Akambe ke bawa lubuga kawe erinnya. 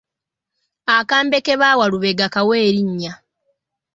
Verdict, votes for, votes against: rejected, 1, 2